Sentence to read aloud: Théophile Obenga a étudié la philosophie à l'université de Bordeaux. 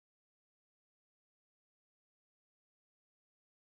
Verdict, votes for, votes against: rejected, 0, 2